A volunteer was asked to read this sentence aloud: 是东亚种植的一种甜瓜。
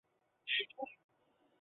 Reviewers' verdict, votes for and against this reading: rejected, 0, 2